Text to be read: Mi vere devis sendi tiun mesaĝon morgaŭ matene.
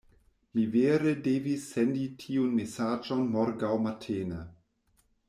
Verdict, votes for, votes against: rejected, 1, 2